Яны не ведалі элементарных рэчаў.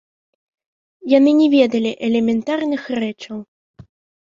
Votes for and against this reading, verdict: 1, 2, rejected